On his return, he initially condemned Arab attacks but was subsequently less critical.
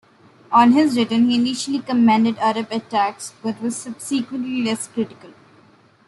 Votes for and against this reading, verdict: 1, 2, rejected